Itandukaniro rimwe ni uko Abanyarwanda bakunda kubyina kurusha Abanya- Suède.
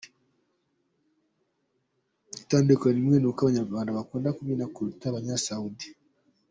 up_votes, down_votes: 0, 2